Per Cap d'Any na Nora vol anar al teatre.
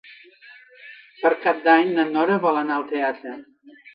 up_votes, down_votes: 4, 0